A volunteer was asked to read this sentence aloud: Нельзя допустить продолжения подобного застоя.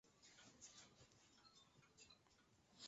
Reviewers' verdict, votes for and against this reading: rejected, 0, 2